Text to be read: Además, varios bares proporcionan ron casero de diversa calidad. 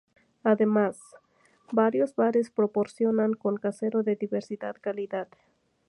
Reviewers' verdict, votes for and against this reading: accepted, 2, 0